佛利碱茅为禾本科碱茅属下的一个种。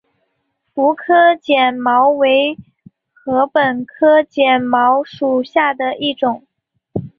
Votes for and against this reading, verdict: 3, 2, accepted